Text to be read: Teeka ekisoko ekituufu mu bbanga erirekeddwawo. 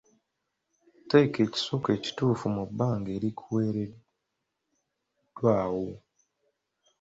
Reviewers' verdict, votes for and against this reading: rejected, 0, 2